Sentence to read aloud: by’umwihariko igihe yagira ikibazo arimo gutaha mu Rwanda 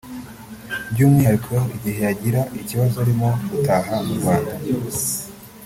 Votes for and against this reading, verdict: 2, 0, accepted